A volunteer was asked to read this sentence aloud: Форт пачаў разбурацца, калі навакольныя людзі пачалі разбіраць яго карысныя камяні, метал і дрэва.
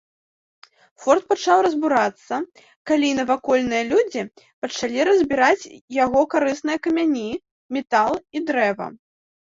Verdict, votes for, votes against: accepted, 2, 0